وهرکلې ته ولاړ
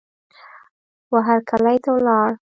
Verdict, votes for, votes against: accepted, 2, 0